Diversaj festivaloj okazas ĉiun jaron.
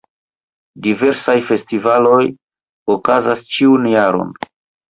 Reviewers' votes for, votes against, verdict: 0, 2, rejected